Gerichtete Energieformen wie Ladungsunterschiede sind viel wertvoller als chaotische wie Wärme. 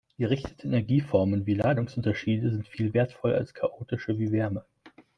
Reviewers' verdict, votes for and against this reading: accepted, 2, 0